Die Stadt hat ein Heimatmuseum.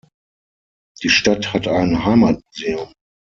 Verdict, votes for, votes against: rejected, 0, 6